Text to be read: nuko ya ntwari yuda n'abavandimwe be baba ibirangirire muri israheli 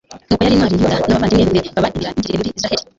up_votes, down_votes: 2, 3